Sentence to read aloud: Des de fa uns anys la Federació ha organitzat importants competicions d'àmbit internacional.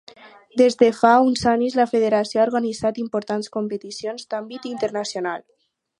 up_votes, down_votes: 2, 2